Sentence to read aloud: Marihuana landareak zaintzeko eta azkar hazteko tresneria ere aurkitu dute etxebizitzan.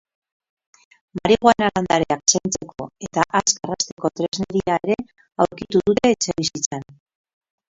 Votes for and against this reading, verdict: 0, 4, rejected